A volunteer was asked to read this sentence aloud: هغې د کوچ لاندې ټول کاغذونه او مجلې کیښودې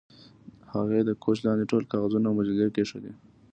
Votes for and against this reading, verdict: 2, 0, accepted